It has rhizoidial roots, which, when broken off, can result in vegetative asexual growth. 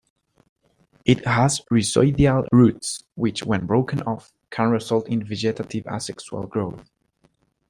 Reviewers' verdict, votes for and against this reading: accepted, 2, 0